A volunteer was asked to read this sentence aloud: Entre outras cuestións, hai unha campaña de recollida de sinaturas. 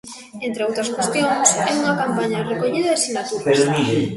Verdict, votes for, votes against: rejected, 0, 2